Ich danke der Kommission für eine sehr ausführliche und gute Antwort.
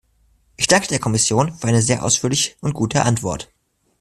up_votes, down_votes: 2, 0